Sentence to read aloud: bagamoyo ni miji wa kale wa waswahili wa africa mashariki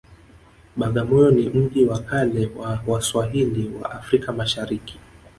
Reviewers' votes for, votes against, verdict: 0, 2, rejected